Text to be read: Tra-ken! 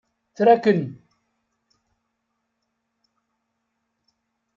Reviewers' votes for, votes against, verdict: 1, 2, rejected